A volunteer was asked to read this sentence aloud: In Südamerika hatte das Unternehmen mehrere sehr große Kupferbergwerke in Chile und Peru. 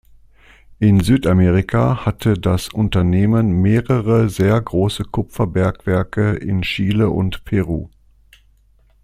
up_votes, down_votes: 2, 0